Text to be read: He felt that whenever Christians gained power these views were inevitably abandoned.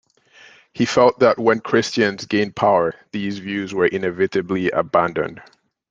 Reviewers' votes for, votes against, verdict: 1, 3, rejected